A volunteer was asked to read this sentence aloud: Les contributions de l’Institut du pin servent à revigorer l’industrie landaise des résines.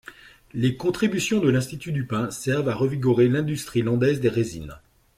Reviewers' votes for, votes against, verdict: 2, 0, accepted